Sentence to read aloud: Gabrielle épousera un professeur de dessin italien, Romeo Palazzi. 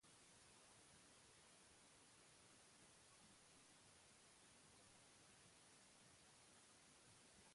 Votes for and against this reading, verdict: 0, 2, rejected